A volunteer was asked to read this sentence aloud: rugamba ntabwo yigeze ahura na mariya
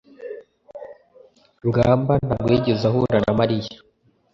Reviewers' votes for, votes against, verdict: 2, 0, accepted